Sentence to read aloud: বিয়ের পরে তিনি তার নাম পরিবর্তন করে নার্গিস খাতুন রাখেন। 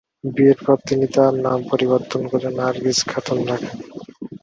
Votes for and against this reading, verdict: 30, 16, accepted